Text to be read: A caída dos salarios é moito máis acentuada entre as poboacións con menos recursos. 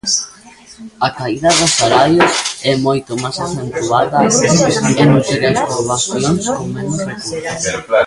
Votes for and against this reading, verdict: 0, 2, rejected